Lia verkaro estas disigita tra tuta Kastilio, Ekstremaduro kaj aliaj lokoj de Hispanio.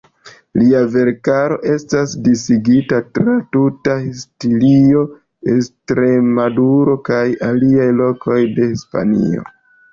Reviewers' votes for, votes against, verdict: 0, 2, rejected